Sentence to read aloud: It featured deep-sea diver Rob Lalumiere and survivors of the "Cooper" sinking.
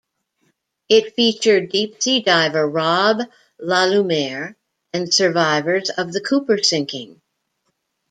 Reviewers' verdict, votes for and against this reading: accepted, 2, 0